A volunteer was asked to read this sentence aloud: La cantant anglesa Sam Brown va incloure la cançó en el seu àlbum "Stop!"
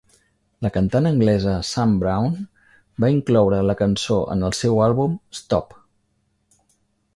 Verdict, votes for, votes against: accepted, 3, 0